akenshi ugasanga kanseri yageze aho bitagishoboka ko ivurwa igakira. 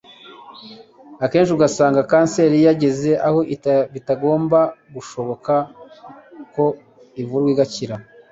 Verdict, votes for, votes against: rejected, 1, 2